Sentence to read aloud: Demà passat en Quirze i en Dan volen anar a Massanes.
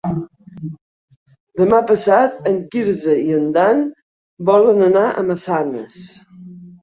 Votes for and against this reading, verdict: 4, 0, accepted